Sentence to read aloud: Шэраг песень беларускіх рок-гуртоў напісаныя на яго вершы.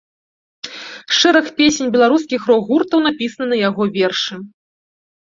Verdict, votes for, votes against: rejected, 1, 2